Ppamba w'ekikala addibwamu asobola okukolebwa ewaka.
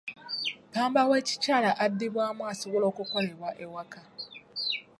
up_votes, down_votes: 1, 2